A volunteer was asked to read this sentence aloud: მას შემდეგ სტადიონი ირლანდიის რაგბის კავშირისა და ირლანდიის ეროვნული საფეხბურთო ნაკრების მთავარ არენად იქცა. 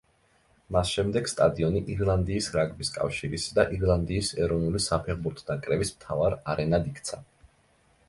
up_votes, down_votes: 2, 0